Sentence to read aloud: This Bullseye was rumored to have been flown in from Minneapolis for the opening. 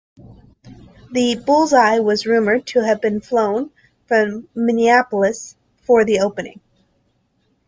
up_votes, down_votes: 0, 2